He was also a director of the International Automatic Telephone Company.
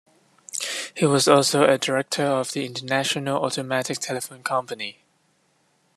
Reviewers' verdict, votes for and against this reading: accepted, 2, 1